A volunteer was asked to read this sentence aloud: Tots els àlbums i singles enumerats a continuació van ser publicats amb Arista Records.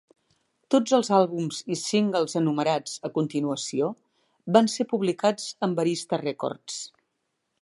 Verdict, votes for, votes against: accepted, 2, 0